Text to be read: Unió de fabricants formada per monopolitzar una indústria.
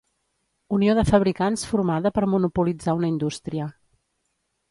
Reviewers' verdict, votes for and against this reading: accepted, 2, 0